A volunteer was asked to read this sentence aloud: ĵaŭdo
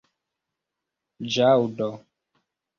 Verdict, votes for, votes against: accepted, 2, 0